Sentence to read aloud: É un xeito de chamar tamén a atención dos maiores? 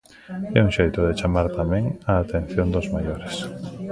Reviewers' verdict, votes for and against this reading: rejected, 0, 2